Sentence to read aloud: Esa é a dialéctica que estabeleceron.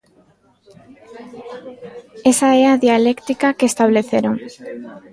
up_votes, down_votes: 1, 2